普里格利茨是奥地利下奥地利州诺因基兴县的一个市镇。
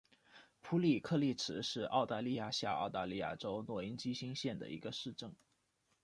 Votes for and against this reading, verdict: 1, 2, rejected